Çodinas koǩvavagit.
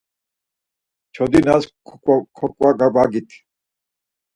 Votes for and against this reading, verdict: 0, 4, rejected